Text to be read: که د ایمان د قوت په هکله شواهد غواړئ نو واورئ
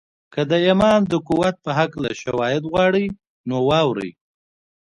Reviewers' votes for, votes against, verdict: 1, 2, rejected